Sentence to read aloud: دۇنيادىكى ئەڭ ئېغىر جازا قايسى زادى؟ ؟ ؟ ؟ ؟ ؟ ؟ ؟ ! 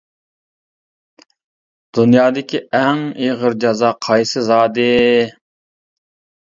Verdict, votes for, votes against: accepted, 2, 1